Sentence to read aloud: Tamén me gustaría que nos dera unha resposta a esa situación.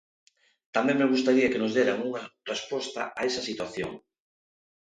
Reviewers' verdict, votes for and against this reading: rejected, 0, 2